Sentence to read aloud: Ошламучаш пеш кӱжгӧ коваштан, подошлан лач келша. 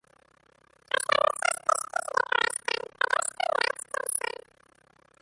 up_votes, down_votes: 0, 2